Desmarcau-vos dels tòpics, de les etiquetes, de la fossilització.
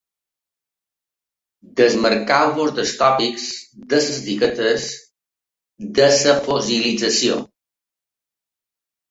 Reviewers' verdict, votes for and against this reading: rejected, 1, 2